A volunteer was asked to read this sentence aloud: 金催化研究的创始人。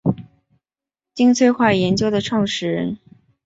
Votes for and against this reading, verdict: 3, 0, accepted